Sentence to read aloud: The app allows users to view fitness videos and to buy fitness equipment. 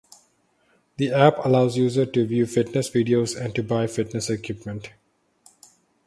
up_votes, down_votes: 2, 4